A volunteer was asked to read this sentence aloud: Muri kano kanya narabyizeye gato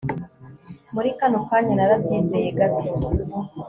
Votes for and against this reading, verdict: 3, 0, accepted